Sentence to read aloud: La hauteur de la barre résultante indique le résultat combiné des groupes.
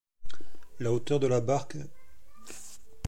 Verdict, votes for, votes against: rejected, 1, 2